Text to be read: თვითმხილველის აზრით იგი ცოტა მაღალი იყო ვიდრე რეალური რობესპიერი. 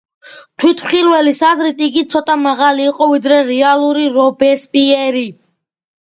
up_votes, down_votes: 2, 0